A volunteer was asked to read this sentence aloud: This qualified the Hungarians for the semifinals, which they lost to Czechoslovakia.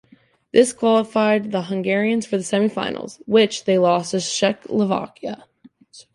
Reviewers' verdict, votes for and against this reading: rejected, 0, 2